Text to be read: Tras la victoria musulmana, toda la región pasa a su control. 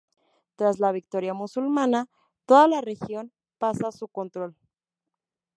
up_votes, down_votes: 2, 0